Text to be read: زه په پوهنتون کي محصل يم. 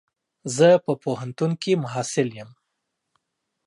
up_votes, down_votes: 2, 0